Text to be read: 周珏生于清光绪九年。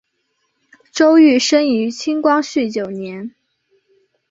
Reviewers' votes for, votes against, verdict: 2, 1, accepted